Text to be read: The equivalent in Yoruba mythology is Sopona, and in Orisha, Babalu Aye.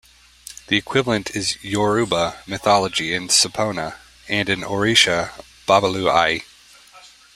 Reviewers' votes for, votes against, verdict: 0, 2, rejected